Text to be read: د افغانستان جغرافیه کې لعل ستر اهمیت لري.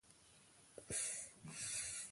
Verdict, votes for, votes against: rejected, 1, 2